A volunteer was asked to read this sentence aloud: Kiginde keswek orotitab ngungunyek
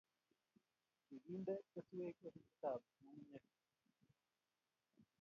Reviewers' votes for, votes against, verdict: 0, 2, rejected